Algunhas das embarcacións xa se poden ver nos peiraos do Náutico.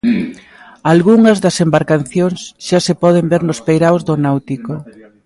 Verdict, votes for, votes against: rejected, 1, 2